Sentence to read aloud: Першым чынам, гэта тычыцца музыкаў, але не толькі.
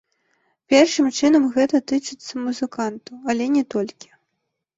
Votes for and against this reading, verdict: 0, 2, rejected